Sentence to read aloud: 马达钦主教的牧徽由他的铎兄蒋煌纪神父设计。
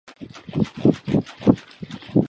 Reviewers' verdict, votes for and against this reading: rejected, 0, 2